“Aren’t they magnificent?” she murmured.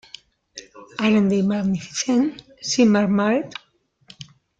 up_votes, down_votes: 0, 2